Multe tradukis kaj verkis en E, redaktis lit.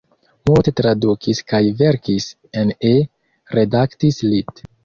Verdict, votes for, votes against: accepted, 3, 1